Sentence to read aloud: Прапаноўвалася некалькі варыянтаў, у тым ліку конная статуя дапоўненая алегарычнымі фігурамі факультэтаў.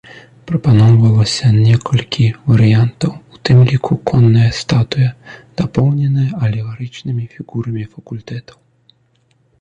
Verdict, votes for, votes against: accepted, 2, 0